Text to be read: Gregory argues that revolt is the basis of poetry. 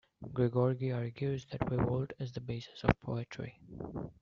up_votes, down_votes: 0, 2